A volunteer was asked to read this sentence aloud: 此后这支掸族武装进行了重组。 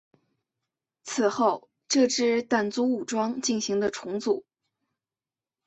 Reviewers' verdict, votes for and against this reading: accepted, 4, 1